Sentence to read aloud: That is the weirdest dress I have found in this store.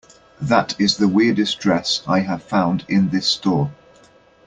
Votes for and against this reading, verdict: 2, 0, accepted